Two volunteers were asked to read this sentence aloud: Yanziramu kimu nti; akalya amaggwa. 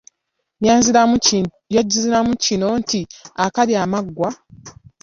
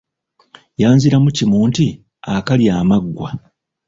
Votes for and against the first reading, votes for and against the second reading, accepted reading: 1, 2, 2, 0, second